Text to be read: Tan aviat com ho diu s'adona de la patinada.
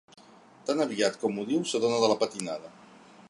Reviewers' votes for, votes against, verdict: 3, 0, accepted